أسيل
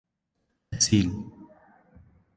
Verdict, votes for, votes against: accepted, 2, 0